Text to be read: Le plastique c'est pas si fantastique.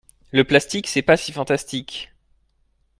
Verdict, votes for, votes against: accepted, 2, 0